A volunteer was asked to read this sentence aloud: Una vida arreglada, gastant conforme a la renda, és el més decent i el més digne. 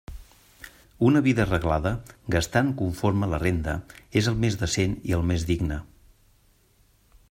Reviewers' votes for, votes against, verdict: 2, 0, accepted